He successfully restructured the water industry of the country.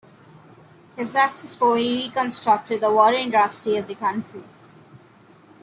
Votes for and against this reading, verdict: 0, 2, rejected